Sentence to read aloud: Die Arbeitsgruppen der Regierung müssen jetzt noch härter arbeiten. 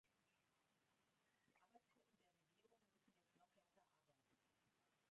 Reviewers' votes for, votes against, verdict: 0, 2, rejected